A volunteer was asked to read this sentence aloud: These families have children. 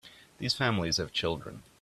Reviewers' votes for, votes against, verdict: 2, 0, accepted